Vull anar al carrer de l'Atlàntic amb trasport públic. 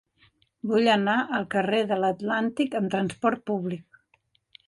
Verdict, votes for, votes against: accepted, 4, 0